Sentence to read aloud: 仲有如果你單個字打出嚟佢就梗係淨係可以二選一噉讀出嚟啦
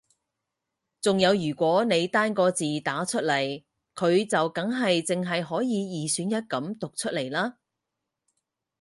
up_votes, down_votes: 4, 0